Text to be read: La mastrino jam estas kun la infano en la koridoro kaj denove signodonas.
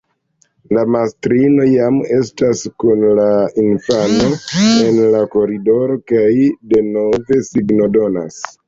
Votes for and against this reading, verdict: 0, 2, rejected